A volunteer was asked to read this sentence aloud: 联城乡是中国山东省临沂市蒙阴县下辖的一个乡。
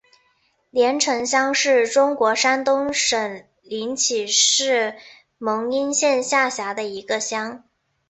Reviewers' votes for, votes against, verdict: 4, 1, accepted